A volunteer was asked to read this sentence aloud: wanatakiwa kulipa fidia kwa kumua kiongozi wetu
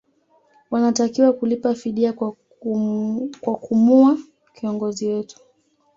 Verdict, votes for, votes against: rejected, 0, 2